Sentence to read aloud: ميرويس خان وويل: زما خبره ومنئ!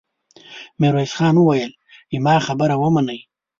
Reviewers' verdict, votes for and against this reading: rejected, 0, 2